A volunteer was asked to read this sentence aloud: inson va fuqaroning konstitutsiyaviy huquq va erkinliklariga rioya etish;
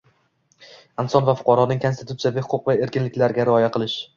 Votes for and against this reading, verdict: 1, 2, rejected